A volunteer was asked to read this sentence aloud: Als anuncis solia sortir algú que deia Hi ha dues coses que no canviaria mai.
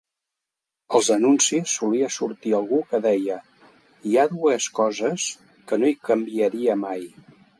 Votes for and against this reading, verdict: 1, 2, rejected